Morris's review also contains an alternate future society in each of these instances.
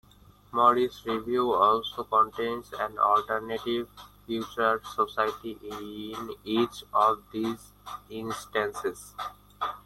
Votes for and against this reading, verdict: 0, 2, rejected